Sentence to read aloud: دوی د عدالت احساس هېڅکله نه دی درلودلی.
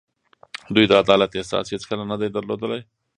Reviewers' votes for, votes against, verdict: 1, 2, rejected